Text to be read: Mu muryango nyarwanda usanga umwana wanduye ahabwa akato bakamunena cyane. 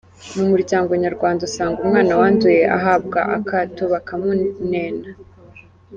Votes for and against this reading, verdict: 0, 2, rejected